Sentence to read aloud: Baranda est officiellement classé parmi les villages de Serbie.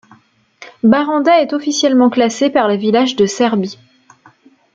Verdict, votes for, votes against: rejected, 1, 2